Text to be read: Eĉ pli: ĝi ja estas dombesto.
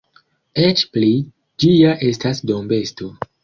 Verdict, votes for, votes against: accepted, 2, 0